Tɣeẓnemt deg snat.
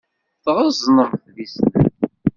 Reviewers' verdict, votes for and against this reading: rejected, 1, 2